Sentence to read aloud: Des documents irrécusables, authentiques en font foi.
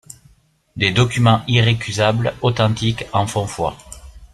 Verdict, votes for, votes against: rejected, 1, 2